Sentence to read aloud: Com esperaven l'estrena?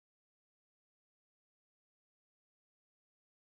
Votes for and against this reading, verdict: 0, 2, rejected